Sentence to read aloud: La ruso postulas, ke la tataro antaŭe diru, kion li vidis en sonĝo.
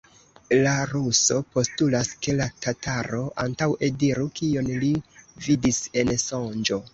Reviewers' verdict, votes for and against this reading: rejected, 1, 2